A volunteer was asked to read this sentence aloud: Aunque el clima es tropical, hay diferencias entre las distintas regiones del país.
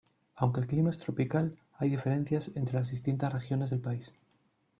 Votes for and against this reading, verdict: 1, 2, rejected